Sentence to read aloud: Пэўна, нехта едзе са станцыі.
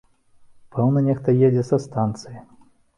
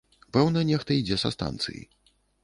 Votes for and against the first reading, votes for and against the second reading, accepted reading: 3, 0, 1, 2, first